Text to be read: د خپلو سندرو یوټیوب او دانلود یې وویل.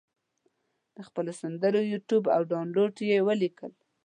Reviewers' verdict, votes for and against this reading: rejected, 1, 2